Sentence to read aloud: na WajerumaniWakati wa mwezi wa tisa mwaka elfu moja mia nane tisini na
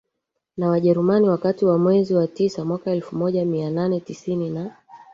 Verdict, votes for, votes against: accepted, 2, 1